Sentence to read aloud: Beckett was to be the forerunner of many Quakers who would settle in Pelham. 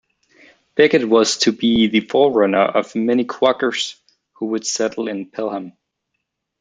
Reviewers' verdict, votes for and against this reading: rejected, 0, 2